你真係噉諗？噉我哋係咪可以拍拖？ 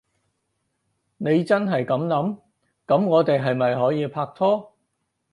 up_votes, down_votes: 4, 0